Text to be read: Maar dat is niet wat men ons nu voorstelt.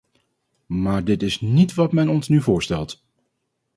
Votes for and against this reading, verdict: 0, 4, rejected